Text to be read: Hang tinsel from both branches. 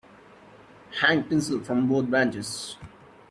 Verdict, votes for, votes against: rejected, 0, 2